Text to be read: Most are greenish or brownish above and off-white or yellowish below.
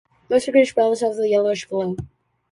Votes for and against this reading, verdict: 0, 2, rejected